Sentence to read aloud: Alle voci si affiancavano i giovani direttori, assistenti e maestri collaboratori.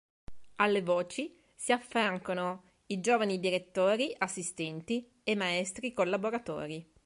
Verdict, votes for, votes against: rejected, 1, 2